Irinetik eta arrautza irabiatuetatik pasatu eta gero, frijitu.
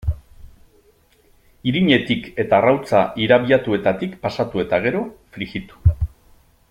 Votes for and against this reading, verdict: 3, 0, accepted